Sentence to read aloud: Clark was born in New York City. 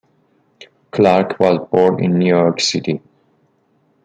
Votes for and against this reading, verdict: 1, 2, rejected